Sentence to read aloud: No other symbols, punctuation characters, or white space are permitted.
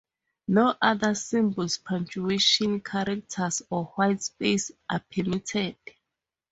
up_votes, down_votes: 2, 2